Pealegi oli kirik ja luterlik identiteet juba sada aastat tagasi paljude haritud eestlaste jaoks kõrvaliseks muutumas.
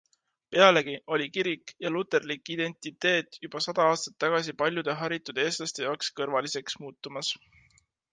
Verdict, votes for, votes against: accepted, 2, 0